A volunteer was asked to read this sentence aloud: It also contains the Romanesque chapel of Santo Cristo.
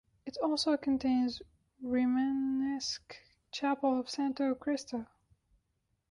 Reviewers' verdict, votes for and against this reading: rejected, 0, 2